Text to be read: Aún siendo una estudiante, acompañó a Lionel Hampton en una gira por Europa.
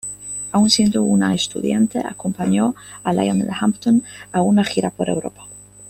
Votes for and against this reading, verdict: 0, 2, rejected